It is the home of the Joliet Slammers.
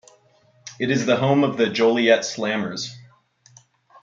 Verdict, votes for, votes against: accepted, 2, 0